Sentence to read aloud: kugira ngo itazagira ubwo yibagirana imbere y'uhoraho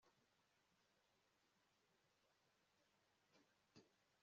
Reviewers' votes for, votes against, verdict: 0, 2, rejected